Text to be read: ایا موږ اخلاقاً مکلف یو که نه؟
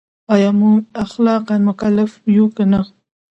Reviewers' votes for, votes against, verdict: 2, 0, accepted